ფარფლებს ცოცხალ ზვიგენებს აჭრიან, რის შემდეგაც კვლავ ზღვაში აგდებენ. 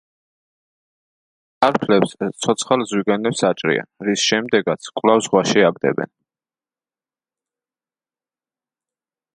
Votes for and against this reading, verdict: 0, 2, rejected